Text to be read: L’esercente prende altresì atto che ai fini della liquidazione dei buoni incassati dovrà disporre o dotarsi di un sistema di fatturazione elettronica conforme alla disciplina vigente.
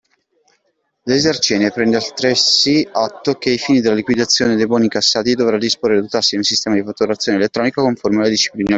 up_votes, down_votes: 0, 2